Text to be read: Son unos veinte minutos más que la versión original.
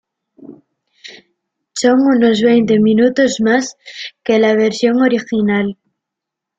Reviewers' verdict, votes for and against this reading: accepted, 2, 0